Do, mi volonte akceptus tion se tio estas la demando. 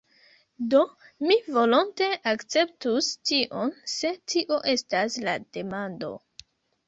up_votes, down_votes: 2, 0